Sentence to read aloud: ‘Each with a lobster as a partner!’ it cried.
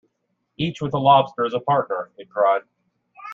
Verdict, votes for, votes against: accepted, 2, 0